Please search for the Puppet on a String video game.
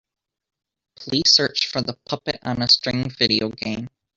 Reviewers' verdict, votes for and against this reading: accepted, 3, 0